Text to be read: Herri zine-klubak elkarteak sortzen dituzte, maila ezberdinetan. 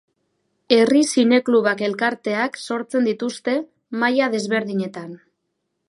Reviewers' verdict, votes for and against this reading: rejected, 0, 2